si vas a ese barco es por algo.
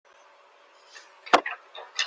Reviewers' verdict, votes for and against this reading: rejected, 0, 2